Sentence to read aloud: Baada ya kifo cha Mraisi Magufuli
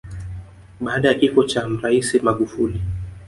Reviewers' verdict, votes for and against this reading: accepted, 2, 1